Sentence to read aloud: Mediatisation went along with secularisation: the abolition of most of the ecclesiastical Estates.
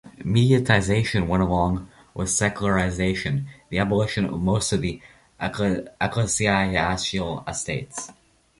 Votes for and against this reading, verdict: 0, 2, rejected